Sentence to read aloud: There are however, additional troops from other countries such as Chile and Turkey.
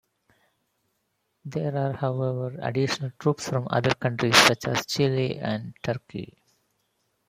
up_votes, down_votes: 2, 0